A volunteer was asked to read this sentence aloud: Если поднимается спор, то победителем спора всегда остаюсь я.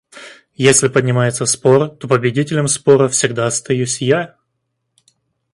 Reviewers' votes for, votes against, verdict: 2, 0, accepted